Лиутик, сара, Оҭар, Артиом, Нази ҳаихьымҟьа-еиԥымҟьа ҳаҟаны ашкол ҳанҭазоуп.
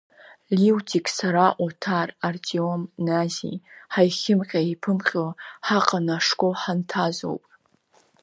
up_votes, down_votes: 1, 2